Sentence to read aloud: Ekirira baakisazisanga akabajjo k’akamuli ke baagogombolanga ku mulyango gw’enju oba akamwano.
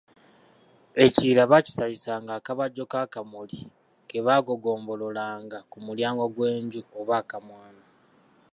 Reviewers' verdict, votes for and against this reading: rejected, 1, 2